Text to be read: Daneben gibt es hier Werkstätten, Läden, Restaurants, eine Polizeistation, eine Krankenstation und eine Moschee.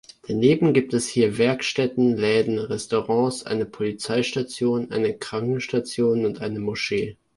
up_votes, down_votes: 2, 0